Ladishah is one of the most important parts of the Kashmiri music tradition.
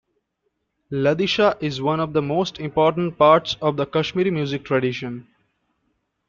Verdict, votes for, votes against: accepted, 2, 0